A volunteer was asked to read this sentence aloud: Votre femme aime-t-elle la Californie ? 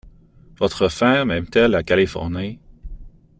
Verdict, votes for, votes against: accepted, 2, 1